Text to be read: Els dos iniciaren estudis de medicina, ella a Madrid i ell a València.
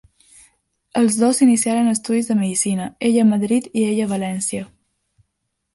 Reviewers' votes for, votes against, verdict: 2, 0, accepted